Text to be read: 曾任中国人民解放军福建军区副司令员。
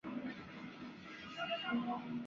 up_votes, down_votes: 1, 3